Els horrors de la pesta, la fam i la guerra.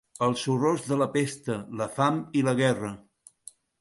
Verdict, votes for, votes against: accepted, 3, 0